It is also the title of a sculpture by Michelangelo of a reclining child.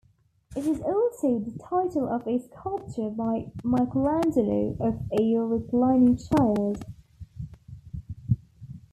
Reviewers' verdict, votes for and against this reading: accepted, 2, 0